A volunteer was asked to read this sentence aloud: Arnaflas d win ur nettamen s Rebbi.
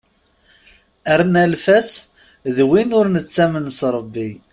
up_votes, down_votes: 0, 2